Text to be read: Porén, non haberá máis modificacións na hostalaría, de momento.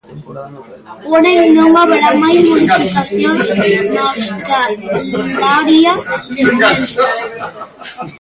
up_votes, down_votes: 0, 3